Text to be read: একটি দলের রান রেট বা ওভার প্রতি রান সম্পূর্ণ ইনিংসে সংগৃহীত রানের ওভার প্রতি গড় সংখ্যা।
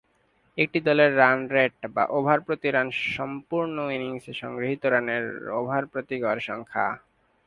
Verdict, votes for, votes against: accepted, 2, 0